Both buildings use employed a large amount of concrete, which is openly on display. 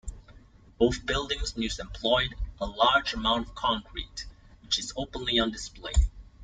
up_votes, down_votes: 2, 0